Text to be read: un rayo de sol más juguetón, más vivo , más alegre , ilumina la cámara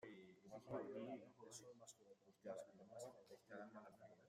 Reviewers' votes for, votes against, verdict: 0, 2, rejected